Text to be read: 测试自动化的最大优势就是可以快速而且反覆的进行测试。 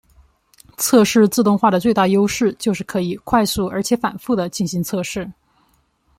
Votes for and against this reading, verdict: 2, 1, accepted